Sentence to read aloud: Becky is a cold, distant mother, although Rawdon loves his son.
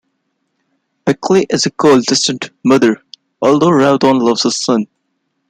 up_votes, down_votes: 0, 2